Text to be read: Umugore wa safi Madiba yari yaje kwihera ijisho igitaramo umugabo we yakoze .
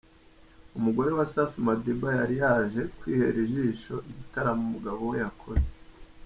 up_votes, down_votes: 3, 0